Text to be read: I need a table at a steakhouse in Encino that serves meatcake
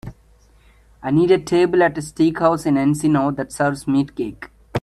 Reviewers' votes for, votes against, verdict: 2, 0, accepted